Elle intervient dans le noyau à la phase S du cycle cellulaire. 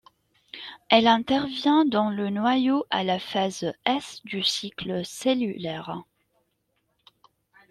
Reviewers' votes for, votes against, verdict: 2, 0, accepted